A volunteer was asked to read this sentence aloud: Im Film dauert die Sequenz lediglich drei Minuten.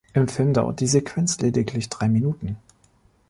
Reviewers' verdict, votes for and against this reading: accepted, 2, 0